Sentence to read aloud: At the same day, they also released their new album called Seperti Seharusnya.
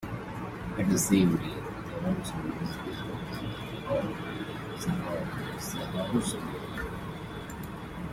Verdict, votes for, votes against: rejected, 1, 2